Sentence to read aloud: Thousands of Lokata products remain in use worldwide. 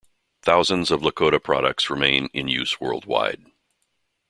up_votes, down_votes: 0, 2